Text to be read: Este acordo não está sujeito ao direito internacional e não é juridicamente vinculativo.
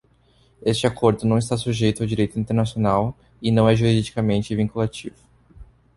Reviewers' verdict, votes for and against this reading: accepted, 2, 0